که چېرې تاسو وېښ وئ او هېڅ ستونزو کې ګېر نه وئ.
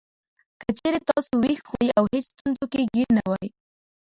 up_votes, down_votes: 1, 2